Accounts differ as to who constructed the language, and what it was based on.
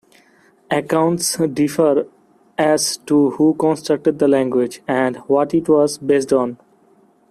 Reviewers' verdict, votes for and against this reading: accepted, 2, 1